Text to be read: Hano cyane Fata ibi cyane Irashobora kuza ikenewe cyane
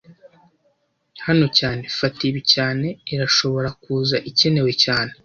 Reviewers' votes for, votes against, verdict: 1, 2, rejected